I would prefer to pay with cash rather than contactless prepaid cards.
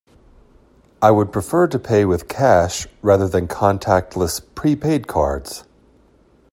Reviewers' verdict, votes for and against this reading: accepted, 2, 0